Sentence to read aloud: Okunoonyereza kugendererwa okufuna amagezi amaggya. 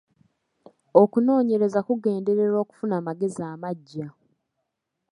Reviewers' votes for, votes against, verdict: 3, 1, accepted